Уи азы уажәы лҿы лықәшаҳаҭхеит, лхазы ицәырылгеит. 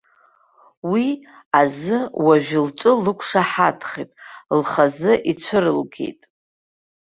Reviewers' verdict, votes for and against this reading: accepted, 2, 1